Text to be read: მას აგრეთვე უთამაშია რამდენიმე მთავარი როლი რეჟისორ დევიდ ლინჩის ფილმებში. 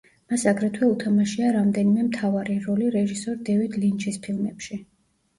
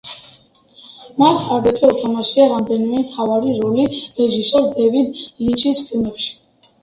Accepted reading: second